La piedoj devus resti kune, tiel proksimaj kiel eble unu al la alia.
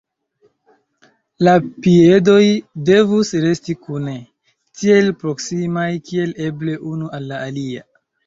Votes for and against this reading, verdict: 2, 0, accepted